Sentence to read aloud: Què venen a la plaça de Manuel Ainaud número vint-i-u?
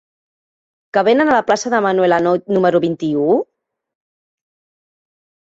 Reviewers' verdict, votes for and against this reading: rejected, 0, 2